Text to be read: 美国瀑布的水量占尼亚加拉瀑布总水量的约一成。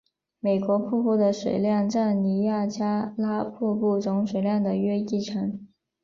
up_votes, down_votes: 2, 0